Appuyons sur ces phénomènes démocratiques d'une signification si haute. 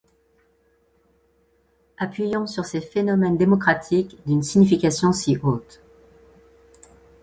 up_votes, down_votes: 2, 0